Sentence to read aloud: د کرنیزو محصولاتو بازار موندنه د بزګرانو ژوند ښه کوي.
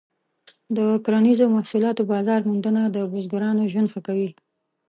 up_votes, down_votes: 2, 0